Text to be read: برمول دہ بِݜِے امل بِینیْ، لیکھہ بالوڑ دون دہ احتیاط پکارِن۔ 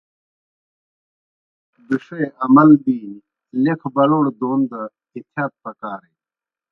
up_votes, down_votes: 0, 2